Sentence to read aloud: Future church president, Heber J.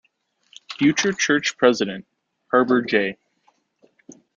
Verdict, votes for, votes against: rejected, 1, 2